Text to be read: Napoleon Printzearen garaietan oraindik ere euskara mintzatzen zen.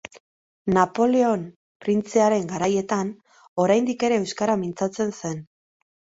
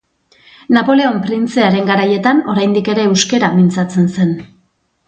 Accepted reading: first